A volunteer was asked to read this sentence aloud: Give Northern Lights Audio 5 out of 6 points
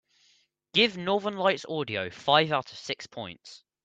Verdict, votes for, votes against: rejected, 0, 2